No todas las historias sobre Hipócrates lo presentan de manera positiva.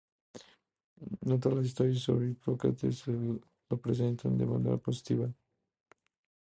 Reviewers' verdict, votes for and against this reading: rejected, 0, 2